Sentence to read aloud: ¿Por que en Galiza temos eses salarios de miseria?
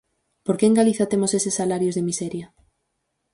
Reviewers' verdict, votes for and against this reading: accepted, 4, 0